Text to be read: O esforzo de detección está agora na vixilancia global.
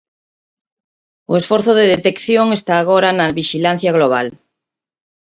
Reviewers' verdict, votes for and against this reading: rejected, 0, 4